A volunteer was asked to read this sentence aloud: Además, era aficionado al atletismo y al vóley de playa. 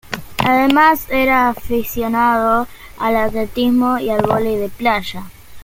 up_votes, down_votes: 2, 0